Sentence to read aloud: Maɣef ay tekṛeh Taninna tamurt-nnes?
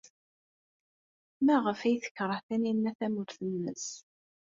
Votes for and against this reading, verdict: 2, 0, accepted